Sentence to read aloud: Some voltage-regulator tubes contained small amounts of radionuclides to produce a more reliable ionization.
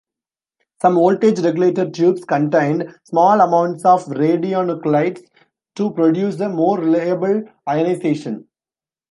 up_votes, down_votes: 1, 2